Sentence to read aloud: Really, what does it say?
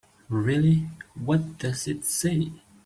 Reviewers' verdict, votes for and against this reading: accepted, 2, 0